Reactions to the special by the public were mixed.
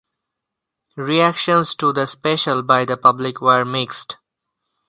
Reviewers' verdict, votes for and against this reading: accepted, 4, 0